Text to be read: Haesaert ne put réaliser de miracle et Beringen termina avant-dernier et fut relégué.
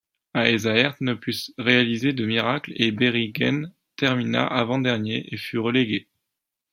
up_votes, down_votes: 0, 2